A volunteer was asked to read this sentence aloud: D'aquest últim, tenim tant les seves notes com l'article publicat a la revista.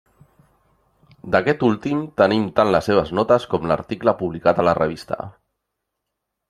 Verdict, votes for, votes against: rejected, 0, 2